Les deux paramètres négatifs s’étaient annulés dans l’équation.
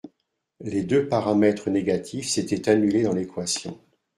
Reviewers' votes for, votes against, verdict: 2, 0, accepted